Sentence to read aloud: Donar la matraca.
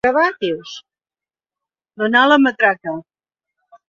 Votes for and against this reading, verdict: 1, 2, rejected